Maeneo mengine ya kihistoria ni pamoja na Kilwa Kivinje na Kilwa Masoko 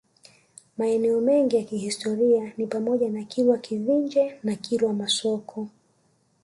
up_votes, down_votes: 1, 2